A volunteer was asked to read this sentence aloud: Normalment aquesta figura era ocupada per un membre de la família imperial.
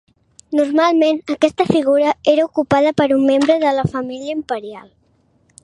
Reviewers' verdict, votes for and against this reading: accepted, 2, 0